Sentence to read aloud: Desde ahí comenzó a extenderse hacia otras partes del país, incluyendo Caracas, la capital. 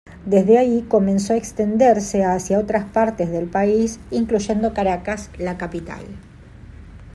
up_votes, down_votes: 2, 1